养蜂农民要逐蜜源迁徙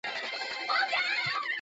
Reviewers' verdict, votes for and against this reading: rejected, 1, 2